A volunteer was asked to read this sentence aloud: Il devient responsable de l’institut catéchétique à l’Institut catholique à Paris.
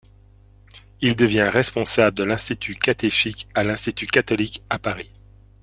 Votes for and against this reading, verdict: 1, 2, rejected